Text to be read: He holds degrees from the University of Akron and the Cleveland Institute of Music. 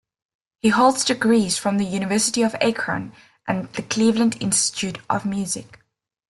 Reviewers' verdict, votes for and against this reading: rejected, 0, 2